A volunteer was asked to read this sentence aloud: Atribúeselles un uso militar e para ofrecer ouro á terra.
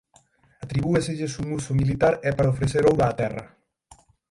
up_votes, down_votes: 3, 6